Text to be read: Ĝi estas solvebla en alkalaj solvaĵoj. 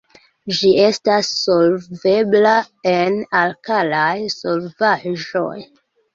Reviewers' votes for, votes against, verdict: 2, 1, accepted